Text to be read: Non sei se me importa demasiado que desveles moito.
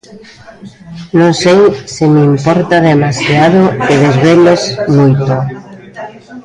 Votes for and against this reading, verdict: 1, 2, rejected